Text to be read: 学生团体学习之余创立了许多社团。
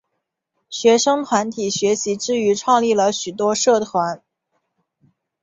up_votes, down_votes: 5, 0